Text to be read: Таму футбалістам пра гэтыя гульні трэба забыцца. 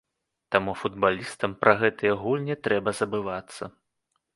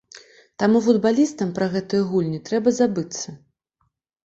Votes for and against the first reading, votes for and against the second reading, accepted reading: 0, 3, 2, 0, second